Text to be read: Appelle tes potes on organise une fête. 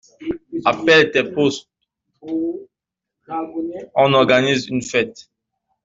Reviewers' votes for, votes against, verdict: 1, 2, rejected